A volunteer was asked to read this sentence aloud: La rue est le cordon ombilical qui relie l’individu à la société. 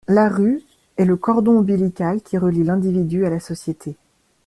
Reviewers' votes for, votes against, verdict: 2, 0, accepted